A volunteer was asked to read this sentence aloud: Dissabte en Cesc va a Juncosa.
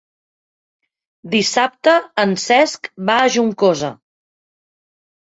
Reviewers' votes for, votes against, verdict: 6, 0, accepted